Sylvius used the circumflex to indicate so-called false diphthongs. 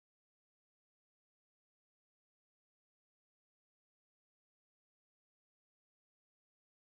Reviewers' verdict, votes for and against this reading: rejected, 0, 2